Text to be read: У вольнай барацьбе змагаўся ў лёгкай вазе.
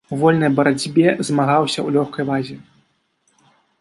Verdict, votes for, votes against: accepted, 2, 0